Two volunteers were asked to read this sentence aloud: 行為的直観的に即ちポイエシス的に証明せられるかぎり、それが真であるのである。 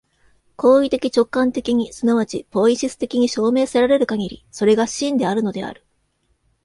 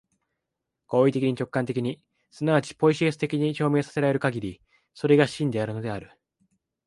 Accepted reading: first